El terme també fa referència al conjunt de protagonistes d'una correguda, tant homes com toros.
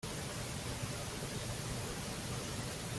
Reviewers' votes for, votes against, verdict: 0, 2, rejected